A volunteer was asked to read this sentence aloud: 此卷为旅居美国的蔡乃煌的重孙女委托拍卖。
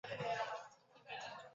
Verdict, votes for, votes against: rejected, 0, 2